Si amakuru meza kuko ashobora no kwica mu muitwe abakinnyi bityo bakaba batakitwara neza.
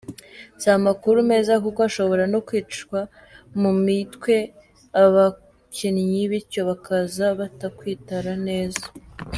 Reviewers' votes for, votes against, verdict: 0, 2, rejected